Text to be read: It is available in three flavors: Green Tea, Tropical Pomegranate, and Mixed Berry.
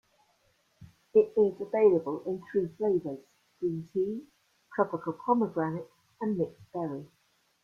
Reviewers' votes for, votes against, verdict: 2, 0, accepted